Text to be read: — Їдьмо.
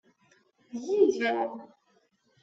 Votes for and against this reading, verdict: 0, 2, rejected